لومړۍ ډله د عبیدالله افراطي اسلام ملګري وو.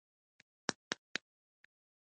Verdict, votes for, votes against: rejected, 0, 2